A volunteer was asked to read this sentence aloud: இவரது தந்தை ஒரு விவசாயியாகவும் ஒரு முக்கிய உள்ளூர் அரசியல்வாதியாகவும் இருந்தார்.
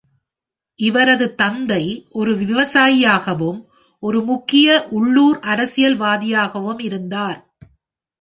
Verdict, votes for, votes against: accepted, 2, 0